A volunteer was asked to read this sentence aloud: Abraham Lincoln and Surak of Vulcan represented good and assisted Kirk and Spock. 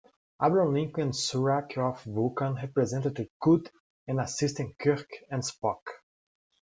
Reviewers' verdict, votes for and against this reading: rejected, 1, 2